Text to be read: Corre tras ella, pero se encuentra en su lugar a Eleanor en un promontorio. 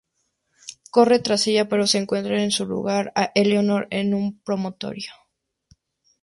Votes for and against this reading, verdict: 0, 2, rejected